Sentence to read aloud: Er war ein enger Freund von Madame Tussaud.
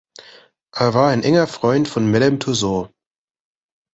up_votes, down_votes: 2, 0